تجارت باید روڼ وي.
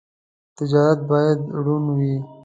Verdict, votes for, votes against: accepted, 2, 0